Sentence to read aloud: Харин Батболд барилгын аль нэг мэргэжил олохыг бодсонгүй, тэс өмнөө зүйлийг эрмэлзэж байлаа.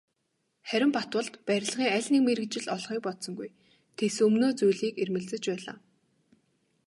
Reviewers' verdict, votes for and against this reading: accepted, 2, 0